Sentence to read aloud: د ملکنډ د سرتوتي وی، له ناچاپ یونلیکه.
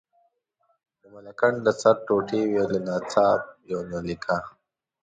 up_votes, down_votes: 0, 2